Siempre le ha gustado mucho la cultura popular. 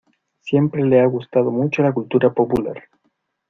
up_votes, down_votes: 2, 0